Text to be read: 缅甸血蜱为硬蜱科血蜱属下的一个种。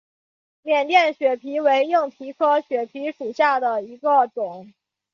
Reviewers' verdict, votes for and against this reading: rejected, 1, 3